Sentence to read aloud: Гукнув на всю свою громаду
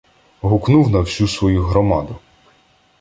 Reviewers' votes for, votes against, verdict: 2, 0, accepted